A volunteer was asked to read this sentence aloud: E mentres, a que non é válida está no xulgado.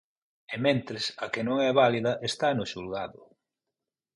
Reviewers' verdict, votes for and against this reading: accepted, 32, 0